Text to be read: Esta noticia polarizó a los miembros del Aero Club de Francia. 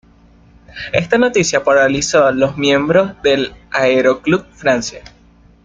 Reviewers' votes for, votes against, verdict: 0, 2, rejected